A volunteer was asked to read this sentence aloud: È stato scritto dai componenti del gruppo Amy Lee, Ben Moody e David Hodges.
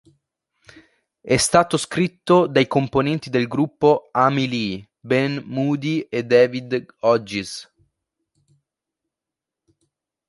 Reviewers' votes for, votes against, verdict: 2, 1, accepted